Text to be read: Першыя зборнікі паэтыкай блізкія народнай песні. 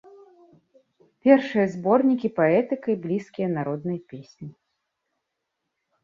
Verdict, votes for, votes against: accepted, 2, 0